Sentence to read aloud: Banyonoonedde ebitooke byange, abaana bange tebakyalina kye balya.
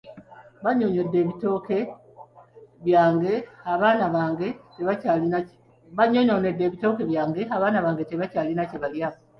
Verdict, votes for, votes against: rejected, 0, 2